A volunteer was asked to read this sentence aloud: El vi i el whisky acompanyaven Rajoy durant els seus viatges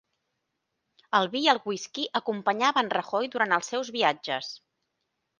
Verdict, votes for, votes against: accepted, 3, 0